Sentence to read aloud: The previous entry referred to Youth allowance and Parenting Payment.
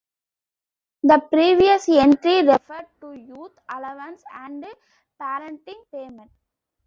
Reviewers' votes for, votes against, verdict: 2, 0, accepted